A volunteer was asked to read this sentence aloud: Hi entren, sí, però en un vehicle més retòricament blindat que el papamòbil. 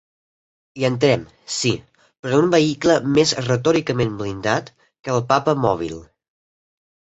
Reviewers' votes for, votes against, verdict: 1, 2, rejected